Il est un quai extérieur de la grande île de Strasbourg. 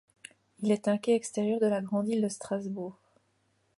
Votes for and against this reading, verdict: 2, 0, accepted